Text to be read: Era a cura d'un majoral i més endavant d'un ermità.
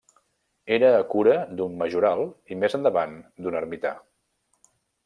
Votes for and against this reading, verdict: 3, 0, accepted